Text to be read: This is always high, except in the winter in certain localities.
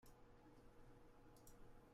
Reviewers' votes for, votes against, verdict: 0, 2, rejected